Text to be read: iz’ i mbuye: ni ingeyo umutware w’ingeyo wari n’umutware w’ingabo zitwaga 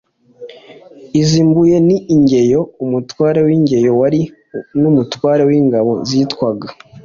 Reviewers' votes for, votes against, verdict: 2, 1, accepted